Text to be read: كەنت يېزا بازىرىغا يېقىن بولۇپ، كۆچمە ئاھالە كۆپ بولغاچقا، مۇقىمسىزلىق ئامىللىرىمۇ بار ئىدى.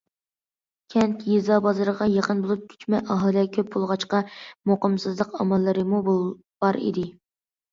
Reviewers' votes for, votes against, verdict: 1, 2, rejected